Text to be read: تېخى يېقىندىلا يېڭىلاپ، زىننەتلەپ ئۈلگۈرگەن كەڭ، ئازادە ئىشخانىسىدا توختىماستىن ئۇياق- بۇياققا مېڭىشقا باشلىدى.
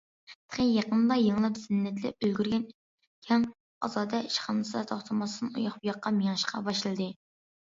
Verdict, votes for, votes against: rejected, 0, 2